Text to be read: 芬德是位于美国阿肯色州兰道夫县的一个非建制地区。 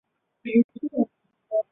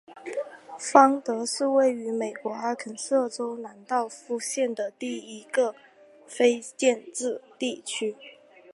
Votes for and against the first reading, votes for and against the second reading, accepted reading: 1, 3, 2, 0, second